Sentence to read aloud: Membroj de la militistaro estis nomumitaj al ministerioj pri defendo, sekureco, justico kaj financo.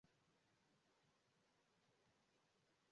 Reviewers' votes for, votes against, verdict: 0, 2, rejected